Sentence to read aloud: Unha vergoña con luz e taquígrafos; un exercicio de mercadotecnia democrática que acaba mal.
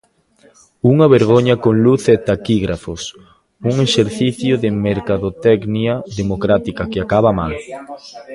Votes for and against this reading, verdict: 0, 2, rejected